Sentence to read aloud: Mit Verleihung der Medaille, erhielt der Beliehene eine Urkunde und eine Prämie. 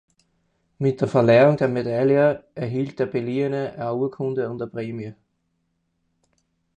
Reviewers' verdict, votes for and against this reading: rejected, 0, 4